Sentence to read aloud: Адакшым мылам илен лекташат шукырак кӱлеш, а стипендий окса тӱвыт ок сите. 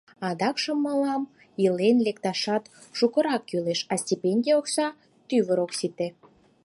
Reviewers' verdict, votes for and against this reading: rejected, 0, 4